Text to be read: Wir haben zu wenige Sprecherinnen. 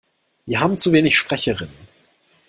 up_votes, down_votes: 1, 2